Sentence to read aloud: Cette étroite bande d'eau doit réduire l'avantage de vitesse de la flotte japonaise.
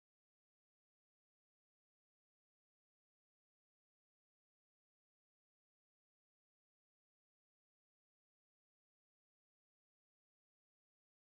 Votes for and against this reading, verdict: 0, 2, rejected